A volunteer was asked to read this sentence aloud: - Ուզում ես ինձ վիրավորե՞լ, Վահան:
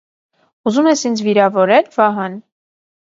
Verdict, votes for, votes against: accepted, 2, 0